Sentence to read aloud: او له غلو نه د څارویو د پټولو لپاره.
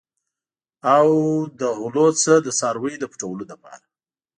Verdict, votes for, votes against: accepted, 2, 1